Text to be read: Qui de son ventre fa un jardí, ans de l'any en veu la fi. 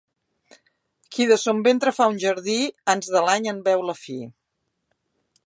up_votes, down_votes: 2, 0